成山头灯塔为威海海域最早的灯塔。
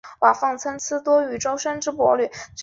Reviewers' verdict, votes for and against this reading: rejected, 0, 3